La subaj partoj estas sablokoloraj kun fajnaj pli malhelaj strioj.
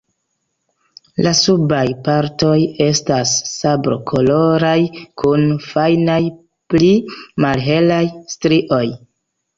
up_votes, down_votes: 2, 0